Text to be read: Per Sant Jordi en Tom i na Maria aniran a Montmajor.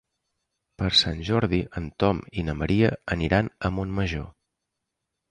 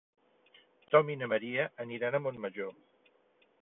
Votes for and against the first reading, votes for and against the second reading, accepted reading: 3, 0, 0, 3, first